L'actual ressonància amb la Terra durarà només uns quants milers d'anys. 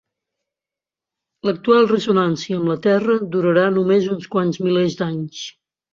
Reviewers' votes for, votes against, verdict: 2, 0, accepted